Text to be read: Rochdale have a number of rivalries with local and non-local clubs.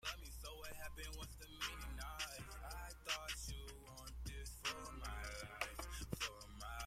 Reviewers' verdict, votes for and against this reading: rejected, 0, 2